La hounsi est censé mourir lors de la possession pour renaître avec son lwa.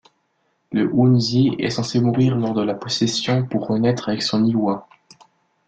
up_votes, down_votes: 2, 0